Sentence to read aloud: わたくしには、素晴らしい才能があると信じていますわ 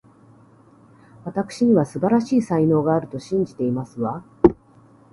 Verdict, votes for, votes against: accepted, 2, 0